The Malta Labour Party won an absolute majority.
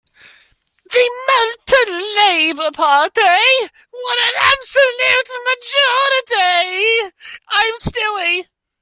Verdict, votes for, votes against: rejected, 0, 2